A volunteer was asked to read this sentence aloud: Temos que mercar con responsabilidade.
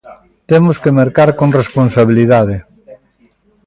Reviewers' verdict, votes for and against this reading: rejected, 1, 2